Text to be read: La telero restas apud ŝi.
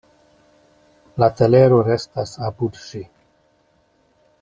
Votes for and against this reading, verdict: 2, 0, accepted